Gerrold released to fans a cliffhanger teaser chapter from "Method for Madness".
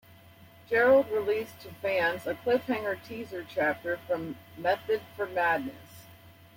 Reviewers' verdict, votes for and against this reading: accepted, 2, 0